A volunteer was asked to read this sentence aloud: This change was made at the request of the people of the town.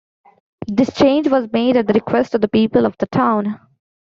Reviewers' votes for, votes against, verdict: 2, 1, accepted